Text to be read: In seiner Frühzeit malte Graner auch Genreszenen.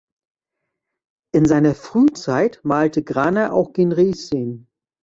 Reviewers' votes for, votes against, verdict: 1, 2, rejected